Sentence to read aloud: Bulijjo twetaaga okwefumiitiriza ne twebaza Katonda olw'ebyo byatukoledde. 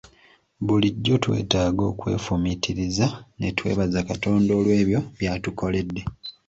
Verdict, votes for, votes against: accepted, 2, 0